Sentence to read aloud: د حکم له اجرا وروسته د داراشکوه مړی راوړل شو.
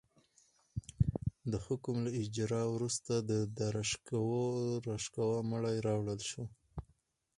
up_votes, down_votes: 2, 4